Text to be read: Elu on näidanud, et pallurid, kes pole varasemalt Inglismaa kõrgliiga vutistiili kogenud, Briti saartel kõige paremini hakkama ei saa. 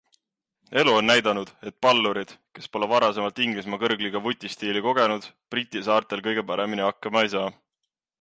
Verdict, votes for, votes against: accepted, 2, 0